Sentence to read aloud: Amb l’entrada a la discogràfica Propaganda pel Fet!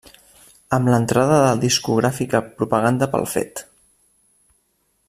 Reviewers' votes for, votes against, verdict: 1, 2, rejected